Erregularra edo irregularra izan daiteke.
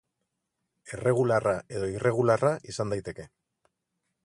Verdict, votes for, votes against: rejected, 0, 2